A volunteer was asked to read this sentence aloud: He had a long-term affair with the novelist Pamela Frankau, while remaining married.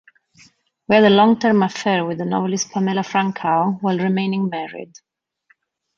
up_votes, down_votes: 1, 2